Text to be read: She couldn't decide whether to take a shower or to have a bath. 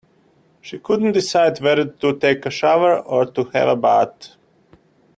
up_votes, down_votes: 0, 2